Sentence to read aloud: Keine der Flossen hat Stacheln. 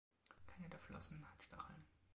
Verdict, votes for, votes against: rejected, 0, 3